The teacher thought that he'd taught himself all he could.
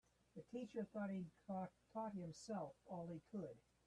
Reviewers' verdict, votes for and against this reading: rejected, 0, 2